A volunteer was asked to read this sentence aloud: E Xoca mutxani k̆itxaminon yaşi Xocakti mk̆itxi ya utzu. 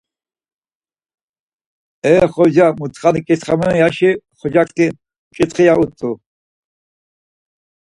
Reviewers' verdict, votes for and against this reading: accepted, 4, 0